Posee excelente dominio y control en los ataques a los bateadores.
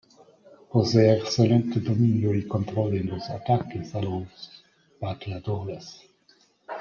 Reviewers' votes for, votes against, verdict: 2, 0, accepted